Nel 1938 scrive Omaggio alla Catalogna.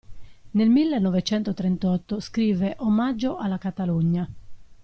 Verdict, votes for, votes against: rejected, 0, 2